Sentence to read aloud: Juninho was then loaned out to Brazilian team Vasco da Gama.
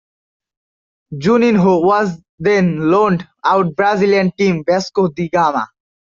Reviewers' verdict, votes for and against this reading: accepted, 2, 0